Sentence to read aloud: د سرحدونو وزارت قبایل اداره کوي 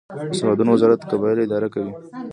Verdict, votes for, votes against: rejected, 0, 2